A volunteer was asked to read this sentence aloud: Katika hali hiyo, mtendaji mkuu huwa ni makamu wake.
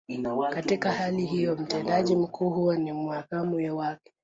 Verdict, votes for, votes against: accepted, 2, 1